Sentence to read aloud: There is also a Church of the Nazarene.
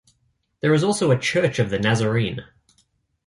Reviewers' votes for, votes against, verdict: 2, 0, accepted